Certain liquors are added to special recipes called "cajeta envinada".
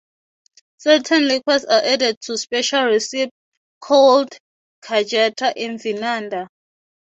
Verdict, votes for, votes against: rejected, 0, 3